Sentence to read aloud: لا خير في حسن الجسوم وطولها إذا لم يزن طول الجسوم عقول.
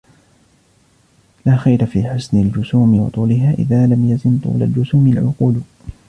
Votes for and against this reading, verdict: 1, 2, rejected